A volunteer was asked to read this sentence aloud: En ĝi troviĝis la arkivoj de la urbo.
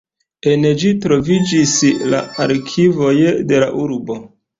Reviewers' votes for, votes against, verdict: 2, 0, accepted